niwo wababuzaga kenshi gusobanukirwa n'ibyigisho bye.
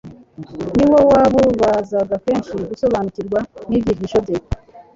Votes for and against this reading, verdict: 0, 2, rejected